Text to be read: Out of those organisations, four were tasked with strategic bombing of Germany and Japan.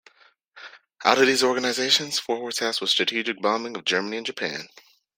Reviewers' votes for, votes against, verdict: 1, 2, rejected